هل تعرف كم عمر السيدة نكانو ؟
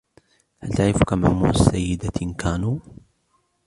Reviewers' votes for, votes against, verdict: 2, 0, accepted